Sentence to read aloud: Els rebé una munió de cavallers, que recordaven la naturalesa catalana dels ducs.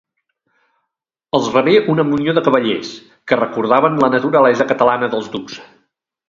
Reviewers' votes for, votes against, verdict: 2, 0, accepted